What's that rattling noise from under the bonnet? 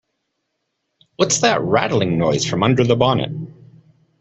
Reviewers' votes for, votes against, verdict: 2, 0, accepted